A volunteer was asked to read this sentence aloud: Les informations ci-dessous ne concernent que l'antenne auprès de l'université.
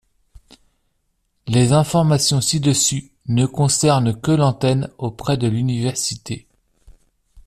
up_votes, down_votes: 1, 2